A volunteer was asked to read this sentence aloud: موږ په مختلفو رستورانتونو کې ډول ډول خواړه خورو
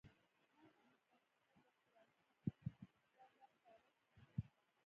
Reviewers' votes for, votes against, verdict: 0, 2, rejected